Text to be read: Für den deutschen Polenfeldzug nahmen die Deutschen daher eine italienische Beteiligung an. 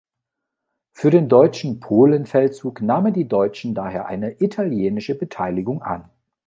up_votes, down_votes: 2, 0